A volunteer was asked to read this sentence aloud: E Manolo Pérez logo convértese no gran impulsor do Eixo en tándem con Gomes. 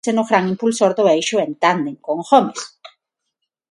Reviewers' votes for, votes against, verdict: 0, 6, rejected